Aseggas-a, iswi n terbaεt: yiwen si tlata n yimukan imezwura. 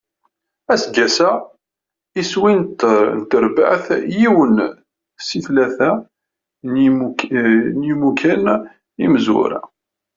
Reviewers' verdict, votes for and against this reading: rejected, 0, 2